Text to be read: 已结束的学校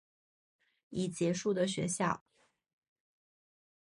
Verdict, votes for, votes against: accepted, 3, 0